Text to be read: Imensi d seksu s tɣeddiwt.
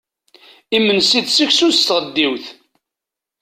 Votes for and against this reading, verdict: 2, 0, accepted